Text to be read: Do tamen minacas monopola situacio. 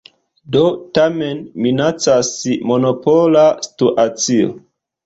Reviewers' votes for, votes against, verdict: 1, 2, rejected